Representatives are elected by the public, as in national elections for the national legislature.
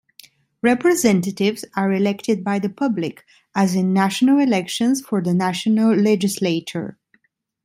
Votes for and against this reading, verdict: 2, 0, accepted